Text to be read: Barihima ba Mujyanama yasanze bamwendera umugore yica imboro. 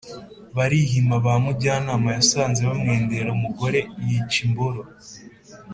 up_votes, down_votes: 4, 0